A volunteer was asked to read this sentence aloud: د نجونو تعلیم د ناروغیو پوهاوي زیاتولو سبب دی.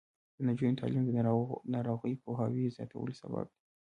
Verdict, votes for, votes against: rejected, 0, 2